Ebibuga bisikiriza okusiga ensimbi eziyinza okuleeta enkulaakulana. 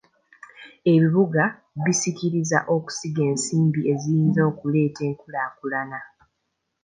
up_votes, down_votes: 2, 0